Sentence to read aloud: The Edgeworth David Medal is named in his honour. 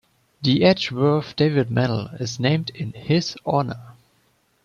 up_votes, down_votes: 3, 0